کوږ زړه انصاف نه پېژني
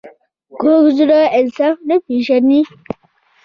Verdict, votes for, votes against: rejected, 1, 2